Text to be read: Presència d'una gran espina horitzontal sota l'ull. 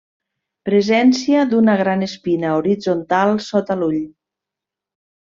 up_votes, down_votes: 3, 0